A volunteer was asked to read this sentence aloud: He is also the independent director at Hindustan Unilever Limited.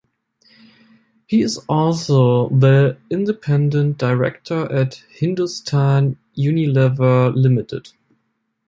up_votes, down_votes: 2, 0